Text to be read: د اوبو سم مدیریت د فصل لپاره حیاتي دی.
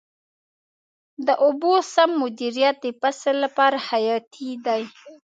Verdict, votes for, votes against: accepted, 2, 0